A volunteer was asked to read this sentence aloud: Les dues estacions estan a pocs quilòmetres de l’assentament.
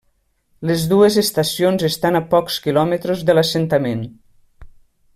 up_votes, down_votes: 1, 2